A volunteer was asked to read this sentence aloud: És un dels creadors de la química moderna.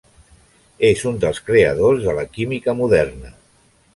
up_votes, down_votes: 3, 0